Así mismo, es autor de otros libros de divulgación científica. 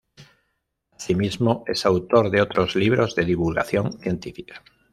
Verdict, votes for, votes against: rejected, 1, 2